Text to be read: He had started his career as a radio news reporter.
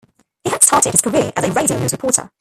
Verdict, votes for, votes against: rejected, 0, 2